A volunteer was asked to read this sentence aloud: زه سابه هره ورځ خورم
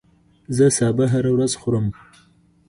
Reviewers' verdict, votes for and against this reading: rejected, 1, 2